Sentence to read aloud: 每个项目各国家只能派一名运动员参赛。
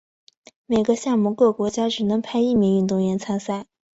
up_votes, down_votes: 2, 0